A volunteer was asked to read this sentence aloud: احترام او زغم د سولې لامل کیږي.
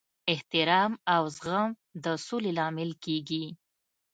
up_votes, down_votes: 2, 0